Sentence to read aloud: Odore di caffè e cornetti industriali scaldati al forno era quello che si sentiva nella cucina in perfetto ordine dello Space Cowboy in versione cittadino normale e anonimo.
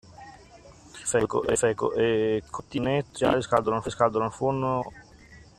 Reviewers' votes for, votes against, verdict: 0, 2, rejected